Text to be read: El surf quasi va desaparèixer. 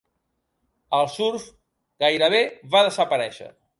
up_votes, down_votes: 1, 2